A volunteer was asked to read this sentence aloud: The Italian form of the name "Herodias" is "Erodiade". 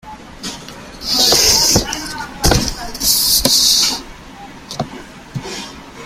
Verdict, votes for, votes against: rejected, 0, 2